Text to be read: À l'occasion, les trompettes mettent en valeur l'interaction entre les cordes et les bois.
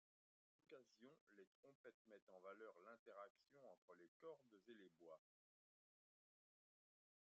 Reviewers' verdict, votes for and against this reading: rejected, 1, 2